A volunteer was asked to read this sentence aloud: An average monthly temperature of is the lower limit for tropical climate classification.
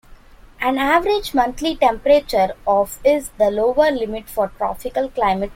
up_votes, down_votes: 0, 2